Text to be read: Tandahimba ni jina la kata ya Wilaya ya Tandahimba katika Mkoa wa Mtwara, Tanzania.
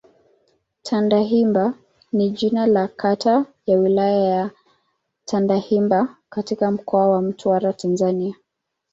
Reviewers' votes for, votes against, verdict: 2, 0, accepted